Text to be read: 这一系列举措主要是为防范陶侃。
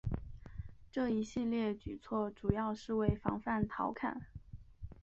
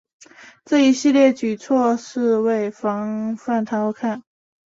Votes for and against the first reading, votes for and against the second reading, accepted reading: 2, 0, 0, 3, first